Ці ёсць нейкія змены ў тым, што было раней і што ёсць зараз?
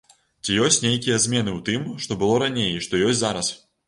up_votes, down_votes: 2, 0